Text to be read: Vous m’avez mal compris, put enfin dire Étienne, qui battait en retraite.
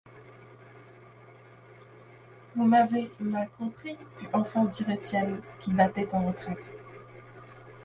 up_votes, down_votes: 2, 0